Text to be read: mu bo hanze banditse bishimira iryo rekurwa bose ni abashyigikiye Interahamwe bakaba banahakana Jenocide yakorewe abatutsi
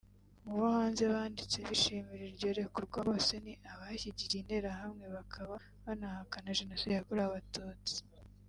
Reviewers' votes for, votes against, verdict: 1, 2, rejected